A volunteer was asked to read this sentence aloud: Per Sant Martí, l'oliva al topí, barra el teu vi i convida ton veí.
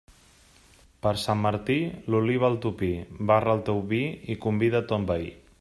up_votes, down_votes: 2, 0